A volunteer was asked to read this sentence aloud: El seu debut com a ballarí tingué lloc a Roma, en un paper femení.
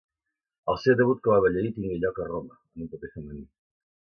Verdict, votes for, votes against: rejected, 1, 2